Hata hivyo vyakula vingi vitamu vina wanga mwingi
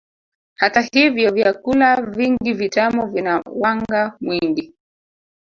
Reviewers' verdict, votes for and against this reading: rejected, 1, 2